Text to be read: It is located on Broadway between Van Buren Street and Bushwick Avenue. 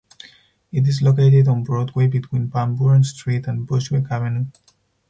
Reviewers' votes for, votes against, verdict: 0, 4, rejected